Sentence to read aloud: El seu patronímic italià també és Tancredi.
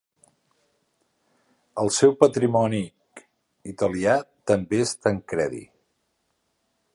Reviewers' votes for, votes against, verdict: 0, 2, rejected